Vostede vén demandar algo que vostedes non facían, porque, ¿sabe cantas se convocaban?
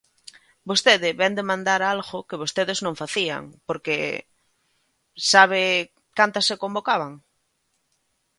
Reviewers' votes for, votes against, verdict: 2, 0, accepted